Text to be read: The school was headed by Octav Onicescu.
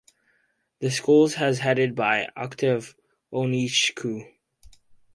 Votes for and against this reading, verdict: 2, 2, rejected